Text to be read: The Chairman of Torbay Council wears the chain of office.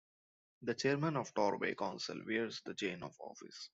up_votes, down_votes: 2, 0